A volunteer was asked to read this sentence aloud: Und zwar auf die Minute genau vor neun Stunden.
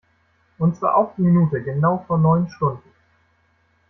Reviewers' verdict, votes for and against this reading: accepted, 2, 1